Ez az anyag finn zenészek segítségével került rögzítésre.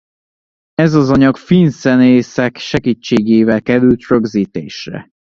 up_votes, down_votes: 0, 2